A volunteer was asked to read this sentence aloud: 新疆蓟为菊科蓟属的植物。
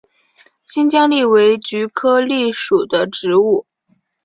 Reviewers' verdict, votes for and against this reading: accepted, 4, 0